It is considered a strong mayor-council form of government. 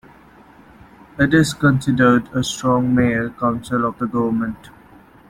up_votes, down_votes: 0, 2